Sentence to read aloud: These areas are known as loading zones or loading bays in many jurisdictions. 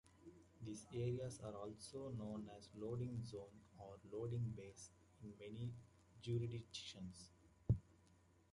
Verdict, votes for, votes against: rejected, 0, 2